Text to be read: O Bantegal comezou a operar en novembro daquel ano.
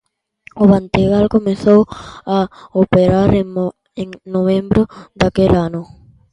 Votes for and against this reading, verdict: 0, 2, rejected